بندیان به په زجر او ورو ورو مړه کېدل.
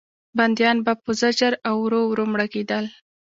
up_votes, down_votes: 2, 0